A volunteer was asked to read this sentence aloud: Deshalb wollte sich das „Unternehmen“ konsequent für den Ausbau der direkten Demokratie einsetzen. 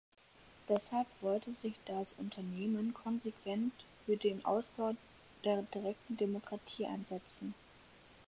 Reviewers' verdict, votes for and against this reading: accepted, 4, 0